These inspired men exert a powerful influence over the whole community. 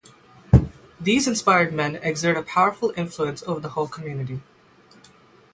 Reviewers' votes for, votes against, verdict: 3, 0, accepted